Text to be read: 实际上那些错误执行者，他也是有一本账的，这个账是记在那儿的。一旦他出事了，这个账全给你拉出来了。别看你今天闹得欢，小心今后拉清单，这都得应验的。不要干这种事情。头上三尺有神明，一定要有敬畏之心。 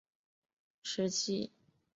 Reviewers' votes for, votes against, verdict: 0, 2, rejected